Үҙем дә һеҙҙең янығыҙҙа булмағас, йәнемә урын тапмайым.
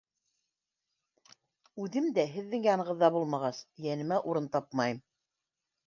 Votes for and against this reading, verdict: 2, 0, accepted